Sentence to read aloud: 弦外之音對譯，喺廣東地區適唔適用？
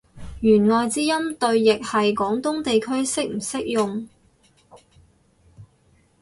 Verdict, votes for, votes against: rejected, 0, 4